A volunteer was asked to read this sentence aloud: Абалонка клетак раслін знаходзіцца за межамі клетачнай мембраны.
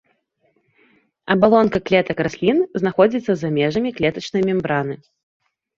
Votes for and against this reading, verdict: 0, 2, rejected